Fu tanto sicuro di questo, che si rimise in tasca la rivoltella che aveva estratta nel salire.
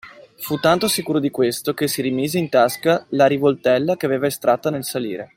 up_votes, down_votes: 2, 0